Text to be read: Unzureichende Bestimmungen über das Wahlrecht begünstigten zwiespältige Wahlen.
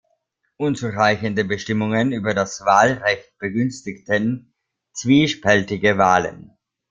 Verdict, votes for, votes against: accepted, 2, 0